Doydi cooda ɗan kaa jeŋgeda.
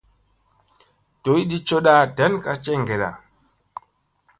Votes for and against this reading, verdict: 2, 0, accepted